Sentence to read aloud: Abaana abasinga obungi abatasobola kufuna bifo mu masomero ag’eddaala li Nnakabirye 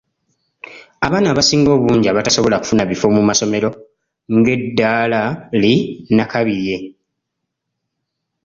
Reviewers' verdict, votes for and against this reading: rejected, 1, 2